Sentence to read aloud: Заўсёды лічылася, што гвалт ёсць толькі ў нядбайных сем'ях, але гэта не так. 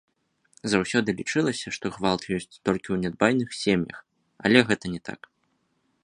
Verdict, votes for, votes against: accepted, 2, 0